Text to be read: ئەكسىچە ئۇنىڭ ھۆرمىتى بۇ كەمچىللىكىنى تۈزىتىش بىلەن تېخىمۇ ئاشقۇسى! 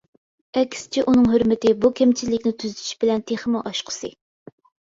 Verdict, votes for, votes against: accepted, 2, 0